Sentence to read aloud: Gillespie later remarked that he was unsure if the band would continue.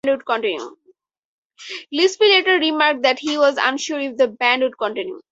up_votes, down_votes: 4, 2